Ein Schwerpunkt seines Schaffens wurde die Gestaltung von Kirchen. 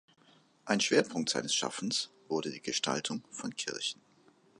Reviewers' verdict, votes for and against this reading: accepted, 2, 0